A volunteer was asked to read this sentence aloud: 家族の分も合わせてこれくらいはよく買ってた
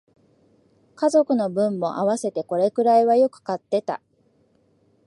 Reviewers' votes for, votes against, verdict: 2, 0, accepted